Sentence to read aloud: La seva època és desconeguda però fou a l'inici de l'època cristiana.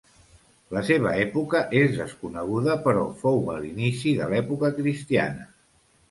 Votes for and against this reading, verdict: 2, 0, accepted